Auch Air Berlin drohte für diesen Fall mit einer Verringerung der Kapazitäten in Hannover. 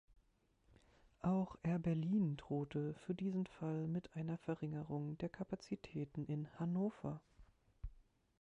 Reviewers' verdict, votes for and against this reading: accepted, 2, 0